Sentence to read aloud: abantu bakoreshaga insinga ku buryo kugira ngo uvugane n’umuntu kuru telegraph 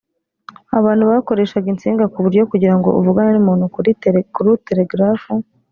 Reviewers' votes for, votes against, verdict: 1, 2, rejected